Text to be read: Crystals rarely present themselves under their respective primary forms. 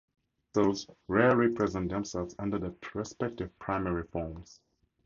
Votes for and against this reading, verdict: 0, 4, rejected